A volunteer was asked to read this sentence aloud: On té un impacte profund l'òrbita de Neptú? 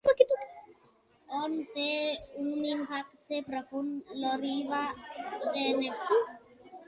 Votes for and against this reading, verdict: 0, 2, rejected